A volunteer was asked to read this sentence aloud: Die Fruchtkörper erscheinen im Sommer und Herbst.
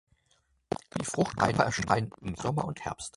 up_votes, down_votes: 0, 2